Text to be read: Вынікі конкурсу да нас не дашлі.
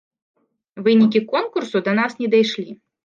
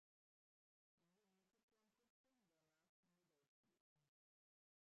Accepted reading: first